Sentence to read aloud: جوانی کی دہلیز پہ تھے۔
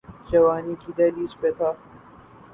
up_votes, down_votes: 4, 4